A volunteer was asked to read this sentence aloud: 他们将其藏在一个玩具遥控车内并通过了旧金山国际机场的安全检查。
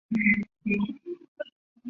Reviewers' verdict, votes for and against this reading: rejected, 0, 2